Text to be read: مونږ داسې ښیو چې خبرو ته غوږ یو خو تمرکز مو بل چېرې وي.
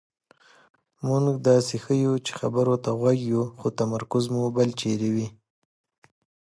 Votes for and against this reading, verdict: 2, 0, accepted